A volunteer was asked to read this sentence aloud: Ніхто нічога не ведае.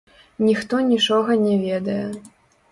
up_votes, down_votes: 1, 2